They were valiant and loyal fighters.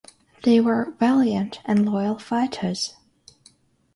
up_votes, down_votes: 6, 0